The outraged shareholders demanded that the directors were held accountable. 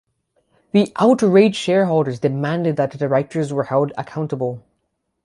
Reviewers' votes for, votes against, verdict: 6, 0, accepted